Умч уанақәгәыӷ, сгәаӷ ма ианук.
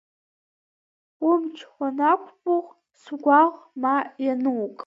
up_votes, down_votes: 0, 2